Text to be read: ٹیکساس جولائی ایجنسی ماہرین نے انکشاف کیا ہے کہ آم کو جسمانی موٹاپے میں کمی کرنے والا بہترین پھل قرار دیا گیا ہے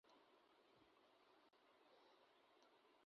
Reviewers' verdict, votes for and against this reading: rejected, 0, 2